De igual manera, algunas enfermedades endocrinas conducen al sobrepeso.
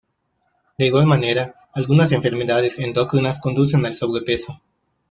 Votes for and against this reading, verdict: 0, 2, rejected